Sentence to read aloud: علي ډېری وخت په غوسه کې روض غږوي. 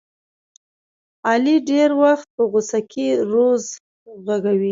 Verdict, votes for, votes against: rejected, 0, 2